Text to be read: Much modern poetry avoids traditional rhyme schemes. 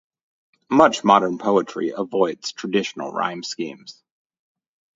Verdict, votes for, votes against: accepted, 2, 0